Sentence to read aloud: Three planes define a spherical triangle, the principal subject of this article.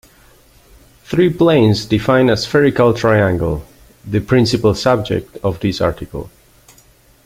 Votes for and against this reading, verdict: 1, 2, rejected